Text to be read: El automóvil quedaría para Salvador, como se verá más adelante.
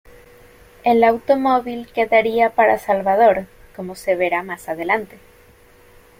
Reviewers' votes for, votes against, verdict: 2, 0, accepted